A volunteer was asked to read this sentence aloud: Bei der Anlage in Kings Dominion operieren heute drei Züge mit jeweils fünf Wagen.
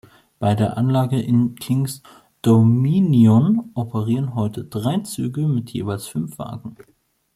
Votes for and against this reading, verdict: 1, 2, rejected